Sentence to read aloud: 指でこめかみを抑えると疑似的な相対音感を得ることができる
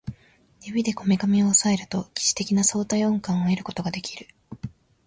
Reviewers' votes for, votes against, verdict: 3, 0, accepted